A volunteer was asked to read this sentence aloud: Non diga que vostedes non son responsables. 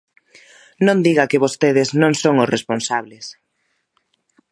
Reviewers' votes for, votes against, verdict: 0, 2, rejected